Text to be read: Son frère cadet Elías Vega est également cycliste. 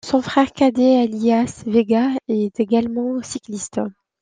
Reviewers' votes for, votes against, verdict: 2, 0, accepted